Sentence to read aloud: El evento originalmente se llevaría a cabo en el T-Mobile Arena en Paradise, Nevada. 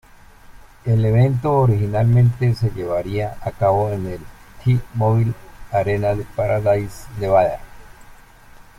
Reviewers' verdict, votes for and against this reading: accepted, 2, 1